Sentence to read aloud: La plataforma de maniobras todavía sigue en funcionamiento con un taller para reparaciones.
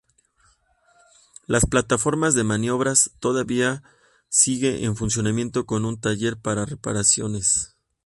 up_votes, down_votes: 0, 2